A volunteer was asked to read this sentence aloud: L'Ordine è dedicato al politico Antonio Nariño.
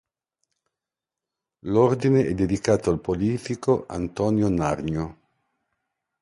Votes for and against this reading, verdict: 2, 0, accepted